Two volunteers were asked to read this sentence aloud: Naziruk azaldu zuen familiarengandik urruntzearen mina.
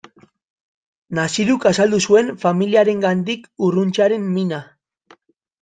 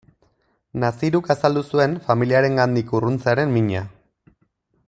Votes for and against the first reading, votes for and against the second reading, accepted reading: 0, 2, 2, 0, second